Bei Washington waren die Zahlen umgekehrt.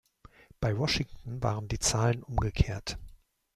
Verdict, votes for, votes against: accepted, 2, 0